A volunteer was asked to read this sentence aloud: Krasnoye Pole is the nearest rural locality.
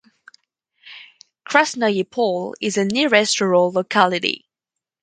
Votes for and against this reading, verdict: 2, 0, accepted